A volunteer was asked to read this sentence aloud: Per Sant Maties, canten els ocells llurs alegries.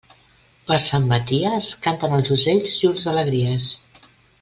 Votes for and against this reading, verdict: 2, 0, accepted